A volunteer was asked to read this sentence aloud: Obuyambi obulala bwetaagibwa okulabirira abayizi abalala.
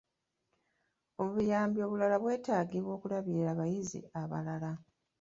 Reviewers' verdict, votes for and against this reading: accepted, 2, 0